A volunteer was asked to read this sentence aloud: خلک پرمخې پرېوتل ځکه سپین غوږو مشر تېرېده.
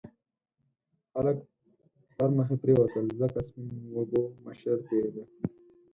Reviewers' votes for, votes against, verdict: 2, 4, rejected